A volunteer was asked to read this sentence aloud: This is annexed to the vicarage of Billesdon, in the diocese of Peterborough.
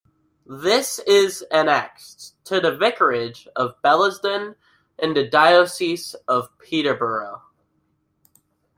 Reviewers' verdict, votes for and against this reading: accepted, 2, 0